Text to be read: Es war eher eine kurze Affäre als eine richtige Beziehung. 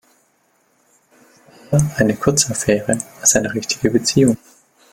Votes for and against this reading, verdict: 0, 2, rejected